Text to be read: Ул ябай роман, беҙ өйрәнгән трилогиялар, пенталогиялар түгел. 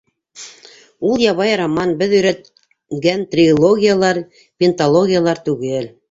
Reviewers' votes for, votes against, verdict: 1, 2, rejected